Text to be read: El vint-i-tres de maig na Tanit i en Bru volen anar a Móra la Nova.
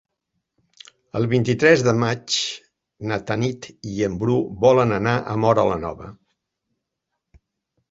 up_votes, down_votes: 3, 0